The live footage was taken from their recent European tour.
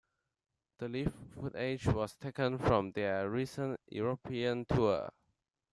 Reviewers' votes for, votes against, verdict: 1, 2, rejected